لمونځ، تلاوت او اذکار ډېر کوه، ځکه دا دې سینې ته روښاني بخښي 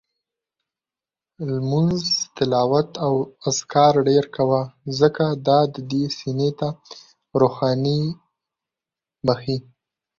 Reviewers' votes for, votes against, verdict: 2, 0, accepted